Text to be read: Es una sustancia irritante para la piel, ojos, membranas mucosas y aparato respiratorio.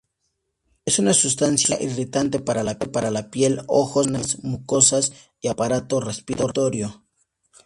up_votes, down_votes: 0, 2